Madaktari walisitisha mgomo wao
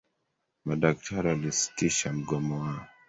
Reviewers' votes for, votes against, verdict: 0, 2, rejected